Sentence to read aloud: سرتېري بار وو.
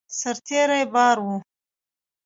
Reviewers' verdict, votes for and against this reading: rejected, 1, 2